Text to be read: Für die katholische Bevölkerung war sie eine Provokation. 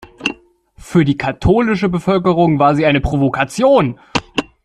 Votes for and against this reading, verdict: 2, 0, accepted